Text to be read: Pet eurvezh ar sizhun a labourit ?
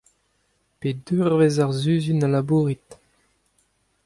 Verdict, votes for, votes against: accepted, 2, 0